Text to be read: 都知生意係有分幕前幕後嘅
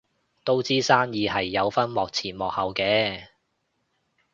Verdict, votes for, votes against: accepted, 2, 0